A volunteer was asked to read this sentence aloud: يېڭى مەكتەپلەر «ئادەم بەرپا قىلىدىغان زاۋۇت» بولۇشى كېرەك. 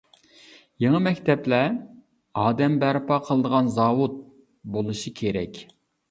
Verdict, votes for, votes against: accepted, 2, 0